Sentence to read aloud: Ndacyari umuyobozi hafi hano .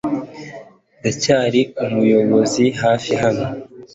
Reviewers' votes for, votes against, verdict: 2, 0, accepted